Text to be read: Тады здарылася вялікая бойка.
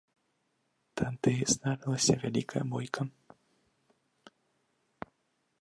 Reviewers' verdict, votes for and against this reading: accepted, 2, 0